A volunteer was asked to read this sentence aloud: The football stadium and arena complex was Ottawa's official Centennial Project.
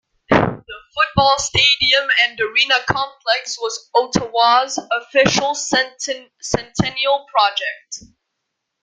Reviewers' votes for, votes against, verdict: 1, 2, rejected